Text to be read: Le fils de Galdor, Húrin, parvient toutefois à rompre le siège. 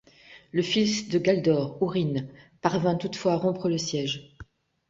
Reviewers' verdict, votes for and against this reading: rejected, 0, 2